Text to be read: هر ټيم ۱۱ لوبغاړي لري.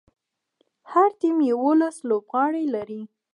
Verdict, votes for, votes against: rejected, 0, 2